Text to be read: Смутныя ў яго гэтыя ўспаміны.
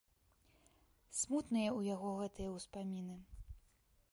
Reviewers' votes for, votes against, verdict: 1, 2, rejected